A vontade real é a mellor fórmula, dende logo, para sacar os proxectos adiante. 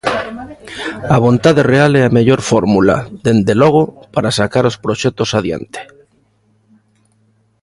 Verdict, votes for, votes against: accepted, 2, 0